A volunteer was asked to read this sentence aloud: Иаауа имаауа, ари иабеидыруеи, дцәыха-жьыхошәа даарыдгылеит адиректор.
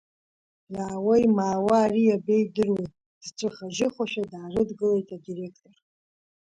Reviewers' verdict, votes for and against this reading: rejected, 0, 2